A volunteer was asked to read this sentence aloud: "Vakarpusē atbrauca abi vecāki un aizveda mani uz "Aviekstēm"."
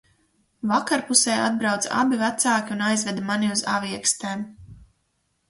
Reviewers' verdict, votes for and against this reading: accepted, 4, 0